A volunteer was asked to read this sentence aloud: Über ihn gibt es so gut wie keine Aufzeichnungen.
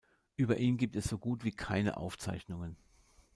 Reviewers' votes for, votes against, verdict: 2, 0, accepted